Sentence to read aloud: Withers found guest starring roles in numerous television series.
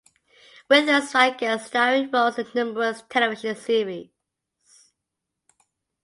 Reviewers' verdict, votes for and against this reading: rejected, 0, 2